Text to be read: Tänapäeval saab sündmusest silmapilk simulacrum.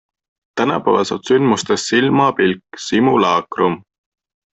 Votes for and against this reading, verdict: 2, 1, accepted